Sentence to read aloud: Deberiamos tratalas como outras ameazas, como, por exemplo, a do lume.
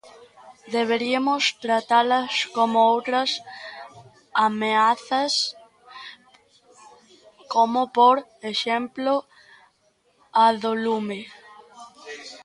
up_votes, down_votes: 1, 2